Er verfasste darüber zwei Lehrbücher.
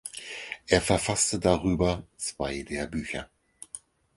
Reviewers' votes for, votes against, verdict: 4, 0, accepted